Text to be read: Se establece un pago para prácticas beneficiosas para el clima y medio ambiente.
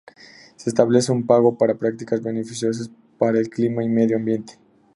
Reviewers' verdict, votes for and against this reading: accepted, 4, 0